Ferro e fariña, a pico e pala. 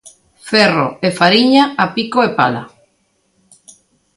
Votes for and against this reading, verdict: 2, 0, accepted